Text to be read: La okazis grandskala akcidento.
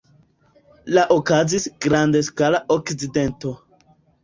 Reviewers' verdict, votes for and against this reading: accepted, 2, 1